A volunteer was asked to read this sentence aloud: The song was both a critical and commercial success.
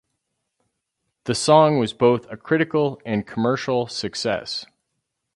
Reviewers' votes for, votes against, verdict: 4, 0, accepted